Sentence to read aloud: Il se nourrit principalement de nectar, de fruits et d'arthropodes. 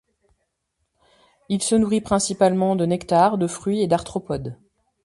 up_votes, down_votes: 2, 0